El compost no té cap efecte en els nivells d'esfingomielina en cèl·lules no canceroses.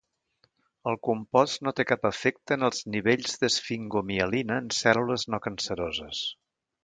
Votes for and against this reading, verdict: 2, 0, accepted